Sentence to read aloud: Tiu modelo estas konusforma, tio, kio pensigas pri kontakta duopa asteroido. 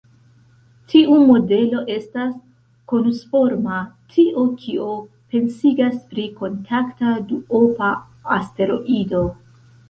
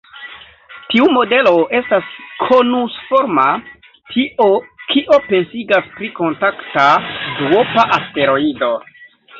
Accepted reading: first